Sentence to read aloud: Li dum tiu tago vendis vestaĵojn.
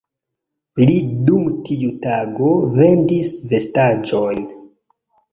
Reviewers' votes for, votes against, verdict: 1, 2, rejected